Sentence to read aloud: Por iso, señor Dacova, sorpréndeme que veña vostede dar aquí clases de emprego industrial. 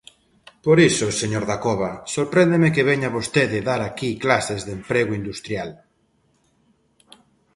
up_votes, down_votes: 3, 0